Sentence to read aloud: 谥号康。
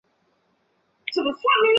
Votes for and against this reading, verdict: 0, 3, rejected